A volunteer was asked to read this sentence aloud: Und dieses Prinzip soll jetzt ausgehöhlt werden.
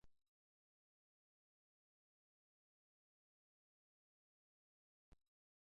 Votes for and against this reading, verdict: 0, 2, rejected